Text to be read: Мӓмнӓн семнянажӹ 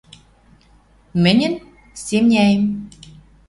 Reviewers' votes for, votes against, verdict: 0, 2, rejected